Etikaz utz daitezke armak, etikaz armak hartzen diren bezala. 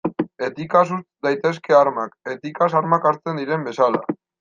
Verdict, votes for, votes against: rejected, 1, 2